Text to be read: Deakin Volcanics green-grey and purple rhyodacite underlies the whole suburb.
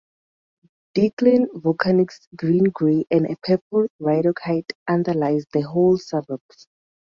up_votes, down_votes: 0, 4